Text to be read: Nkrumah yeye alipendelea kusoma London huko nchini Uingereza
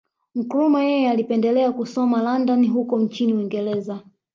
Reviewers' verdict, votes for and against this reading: accepted, 2, 0